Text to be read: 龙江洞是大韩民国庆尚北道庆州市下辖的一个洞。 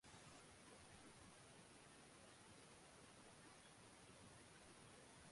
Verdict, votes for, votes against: rejected, 0, 2